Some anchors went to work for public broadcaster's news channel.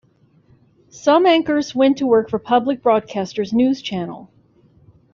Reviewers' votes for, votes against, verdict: 2, 1, accepted